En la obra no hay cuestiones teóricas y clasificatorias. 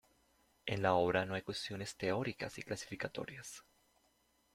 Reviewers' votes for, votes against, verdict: 2, 1, accepted